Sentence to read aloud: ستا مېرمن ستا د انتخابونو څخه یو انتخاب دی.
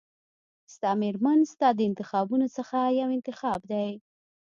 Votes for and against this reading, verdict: 2, 0, accepted